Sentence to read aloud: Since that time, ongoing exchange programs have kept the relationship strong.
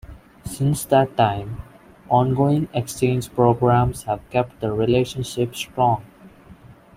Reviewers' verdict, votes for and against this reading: accepted, 2, 0